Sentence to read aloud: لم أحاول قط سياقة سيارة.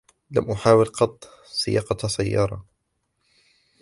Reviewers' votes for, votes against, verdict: 2, 0, accepted